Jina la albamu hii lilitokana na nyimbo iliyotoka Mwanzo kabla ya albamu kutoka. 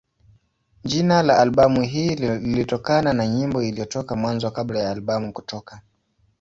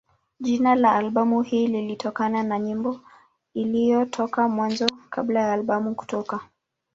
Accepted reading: first